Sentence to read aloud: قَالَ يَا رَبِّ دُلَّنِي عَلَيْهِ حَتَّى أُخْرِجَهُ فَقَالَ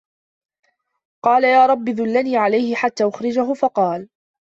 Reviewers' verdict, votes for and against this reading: accepted, 2, 0